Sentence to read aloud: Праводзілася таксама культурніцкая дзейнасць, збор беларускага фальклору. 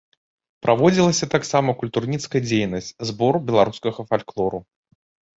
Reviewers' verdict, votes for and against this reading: rejected, 1, 2